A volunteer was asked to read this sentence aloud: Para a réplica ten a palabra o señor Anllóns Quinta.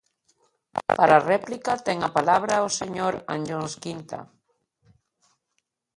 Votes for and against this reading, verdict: 1, 2, rejected